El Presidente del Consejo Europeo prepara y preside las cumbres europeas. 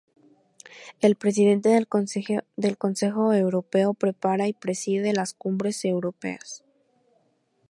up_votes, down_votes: 0, 2